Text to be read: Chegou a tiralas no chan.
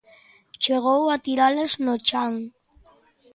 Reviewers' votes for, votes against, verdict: 2, 0, accepted